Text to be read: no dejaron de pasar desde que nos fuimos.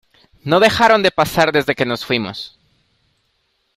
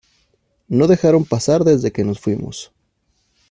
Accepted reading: first